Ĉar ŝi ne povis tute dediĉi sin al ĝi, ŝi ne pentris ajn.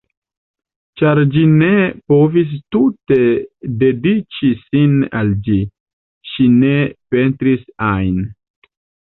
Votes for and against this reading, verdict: 1, 2, rejected